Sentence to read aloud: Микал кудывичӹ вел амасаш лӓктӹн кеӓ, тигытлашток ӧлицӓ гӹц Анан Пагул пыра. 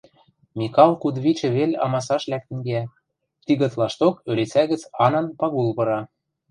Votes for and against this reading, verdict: 2, 0, accepted